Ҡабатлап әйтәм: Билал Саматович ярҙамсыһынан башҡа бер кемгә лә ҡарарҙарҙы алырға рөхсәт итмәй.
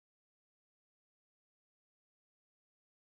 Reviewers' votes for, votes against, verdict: 0, 2, rejected